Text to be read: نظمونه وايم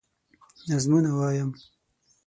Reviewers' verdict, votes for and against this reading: accepted, 6, 0